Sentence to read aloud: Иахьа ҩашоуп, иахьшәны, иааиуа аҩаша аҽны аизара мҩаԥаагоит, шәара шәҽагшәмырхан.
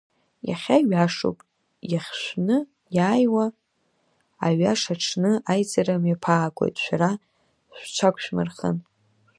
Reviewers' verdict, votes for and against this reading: accepted, 2, 0